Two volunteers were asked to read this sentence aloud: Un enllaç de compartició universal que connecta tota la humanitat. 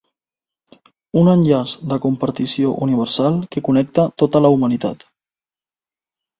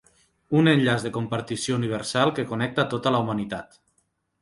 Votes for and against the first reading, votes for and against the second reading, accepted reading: 2, 0, 1, 2, first